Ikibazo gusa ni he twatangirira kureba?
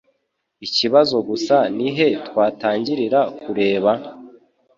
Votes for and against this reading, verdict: 3, 0, accepted